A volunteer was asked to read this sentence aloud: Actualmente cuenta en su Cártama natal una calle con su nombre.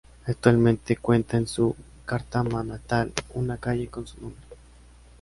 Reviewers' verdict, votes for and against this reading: rejected, 1, 2